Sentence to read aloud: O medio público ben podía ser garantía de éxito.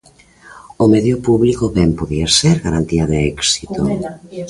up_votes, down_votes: 1, 2